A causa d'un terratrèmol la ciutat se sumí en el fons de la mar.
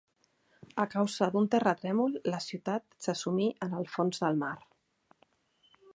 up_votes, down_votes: 0, 2